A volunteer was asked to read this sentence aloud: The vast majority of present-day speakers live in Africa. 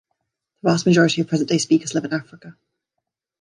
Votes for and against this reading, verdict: 0, 2, rejected